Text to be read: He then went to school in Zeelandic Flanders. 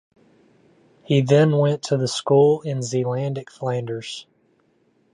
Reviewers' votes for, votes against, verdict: 0, 2, rejected